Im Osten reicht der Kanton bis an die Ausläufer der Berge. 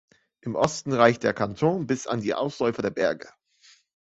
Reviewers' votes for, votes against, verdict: 2, 0, accepted